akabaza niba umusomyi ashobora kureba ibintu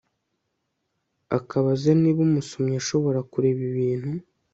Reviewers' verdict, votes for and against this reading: accepted, 3, 0